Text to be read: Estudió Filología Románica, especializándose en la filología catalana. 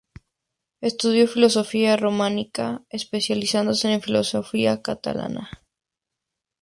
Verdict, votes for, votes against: rejected, 0, 2